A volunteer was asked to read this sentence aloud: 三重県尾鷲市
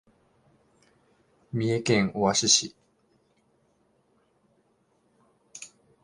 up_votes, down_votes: 0, 2